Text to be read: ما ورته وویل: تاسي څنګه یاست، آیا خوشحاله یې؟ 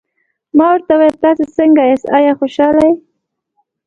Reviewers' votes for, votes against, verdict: 2, 0, accepted